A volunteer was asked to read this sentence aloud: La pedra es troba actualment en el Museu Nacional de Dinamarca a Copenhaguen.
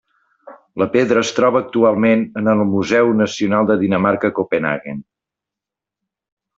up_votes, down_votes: 2, 0